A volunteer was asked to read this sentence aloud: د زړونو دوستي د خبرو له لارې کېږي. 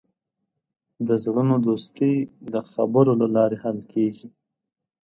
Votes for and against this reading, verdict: 0, 2, rejected